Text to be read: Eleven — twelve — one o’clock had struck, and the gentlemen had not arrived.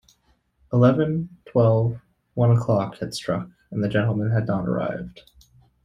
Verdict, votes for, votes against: accepted, 2, 0